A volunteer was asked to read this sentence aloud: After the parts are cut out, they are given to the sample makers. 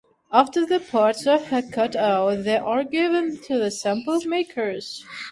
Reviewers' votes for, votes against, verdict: 1, 2, rejected